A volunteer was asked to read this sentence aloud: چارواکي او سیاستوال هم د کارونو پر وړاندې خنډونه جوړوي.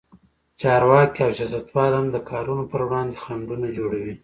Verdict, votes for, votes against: accepted, 2, 0